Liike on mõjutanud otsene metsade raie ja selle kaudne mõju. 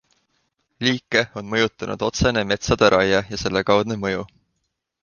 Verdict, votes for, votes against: accepted, 2, 0